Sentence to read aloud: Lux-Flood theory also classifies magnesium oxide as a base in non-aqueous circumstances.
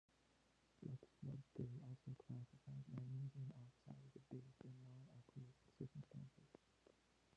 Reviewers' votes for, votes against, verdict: 0, 2, rejected